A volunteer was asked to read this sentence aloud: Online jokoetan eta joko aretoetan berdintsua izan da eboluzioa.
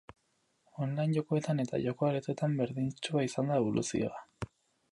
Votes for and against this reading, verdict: 2, 0, accepted